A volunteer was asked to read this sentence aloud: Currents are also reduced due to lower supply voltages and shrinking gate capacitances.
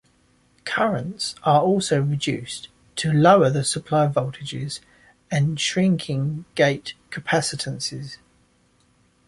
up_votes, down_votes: 0, 2